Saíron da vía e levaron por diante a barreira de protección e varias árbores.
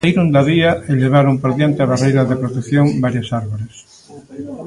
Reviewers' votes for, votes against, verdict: 0, 2, rejected